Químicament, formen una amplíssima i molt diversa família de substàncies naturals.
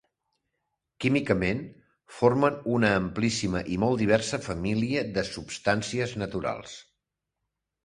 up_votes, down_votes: 2, 0